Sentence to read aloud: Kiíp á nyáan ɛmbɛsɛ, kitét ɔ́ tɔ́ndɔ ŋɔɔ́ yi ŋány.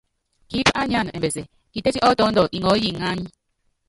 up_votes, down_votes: 0, 2